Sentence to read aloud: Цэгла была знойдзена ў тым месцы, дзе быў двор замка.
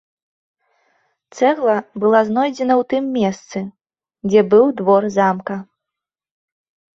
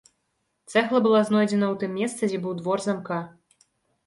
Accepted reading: first